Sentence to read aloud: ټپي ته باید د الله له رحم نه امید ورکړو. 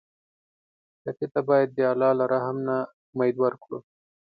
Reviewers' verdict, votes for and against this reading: accepted, 2, 0